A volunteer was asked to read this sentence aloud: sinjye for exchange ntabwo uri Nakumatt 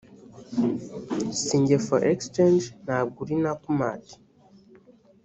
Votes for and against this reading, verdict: 2, 0, accepted